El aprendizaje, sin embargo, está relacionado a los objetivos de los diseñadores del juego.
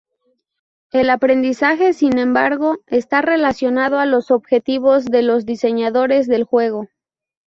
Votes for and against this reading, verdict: 2, 0, accepted